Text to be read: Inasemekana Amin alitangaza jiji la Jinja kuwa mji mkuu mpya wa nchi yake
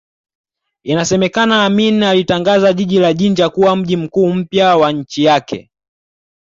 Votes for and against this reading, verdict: 2, 0, accepted